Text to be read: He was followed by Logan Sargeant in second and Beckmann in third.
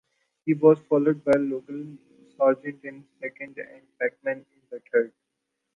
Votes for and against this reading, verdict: 0, 2, rejected